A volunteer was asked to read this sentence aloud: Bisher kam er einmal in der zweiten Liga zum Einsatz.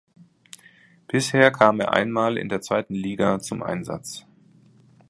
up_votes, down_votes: 2, 0